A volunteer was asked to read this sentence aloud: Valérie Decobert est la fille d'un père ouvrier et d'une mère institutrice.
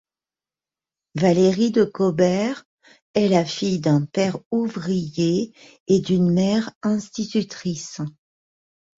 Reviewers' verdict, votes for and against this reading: accepted, 2, 1